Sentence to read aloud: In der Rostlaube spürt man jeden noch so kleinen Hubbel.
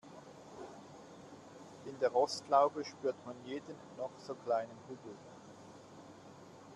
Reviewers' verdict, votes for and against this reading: accepted, 2, 1